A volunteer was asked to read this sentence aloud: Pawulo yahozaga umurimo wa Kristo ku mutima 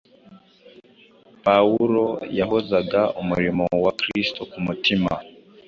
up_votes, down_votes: 2, 1